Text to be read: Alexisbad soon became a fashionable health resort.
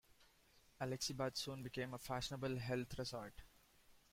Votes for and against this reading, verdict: 0, 2, rejected